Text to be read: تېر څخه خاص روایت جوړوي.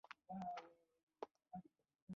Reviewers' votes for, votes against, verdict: 0, 2, rejected